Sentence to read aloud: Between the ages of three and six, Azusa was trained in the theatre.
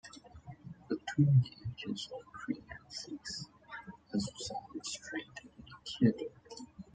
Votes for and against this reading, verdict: 1, 2, rejected